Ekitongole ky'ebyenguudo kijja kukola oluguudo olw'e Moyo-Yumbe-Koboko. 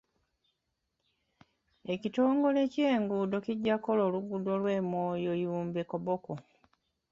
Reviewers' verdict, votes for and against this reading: rejected, 0, 2